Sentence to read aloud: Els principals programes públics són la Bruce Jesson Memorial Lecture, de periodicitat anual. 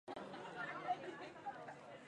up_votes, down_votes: 2, 2